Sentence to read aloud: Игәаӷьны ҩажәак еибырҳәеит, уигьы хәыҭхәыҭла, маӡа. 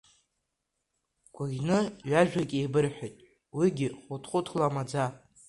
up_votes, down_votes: 1, 2